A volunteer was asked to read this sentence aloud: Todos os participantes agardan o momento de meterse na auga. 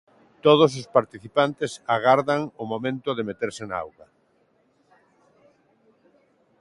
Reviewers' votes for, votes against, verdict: 2, 0, accepted